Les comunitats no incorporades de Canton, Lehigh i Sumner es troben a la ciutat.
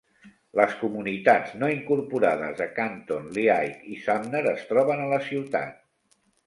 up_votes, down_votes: 2, 1